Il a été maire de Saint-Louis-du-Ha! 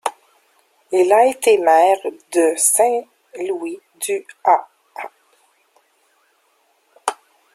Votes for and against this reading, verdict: 2, 1, accepted